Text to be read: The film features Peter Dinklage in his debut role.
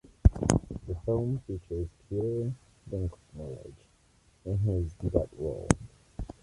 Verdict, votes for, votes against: rejected, 1, 2